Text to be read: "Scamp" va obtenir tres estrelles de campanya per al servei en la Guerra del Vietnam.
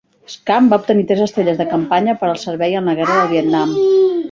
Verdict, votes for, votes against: rejected, 0, 2